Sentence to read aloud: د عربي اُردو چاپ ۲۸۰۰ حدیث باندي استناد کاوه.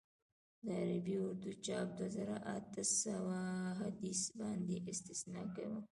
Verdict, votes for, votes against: rejected, 0, 2